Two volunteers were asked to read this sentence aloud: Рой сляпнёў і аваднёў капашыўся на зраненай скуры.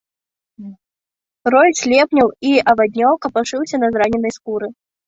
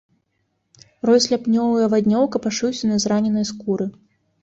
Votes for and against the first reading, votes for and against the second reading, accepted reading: 0, 2, 3, 0, second